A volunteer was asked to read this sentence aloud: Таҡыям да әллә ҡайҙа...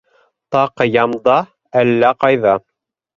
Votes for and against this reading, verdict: 3, 0, accepted